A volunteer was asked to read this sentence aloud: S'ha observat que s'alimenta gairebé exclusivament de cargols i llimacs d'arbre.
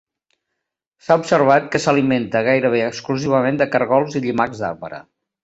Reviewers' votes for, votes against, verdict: 2, 0, accepted